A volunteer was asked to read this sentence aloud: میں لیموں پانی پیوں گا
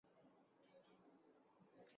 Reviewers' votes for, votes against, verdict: 0, 3, rejected